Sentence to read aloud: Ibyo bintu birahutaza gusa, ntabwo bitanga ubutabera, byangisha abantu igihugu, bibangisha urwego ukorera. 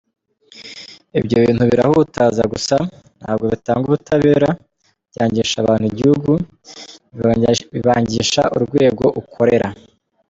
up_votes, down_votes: 0, 2